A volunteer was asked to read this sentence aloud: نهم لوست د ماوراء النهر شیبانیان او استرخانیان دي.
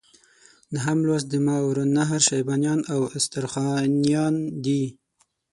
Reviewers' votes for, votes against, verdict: 6, 0, accepted